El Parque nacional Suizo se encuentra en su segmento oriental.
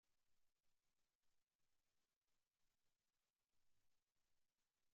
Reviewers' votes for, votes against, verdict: 0, 2, rejected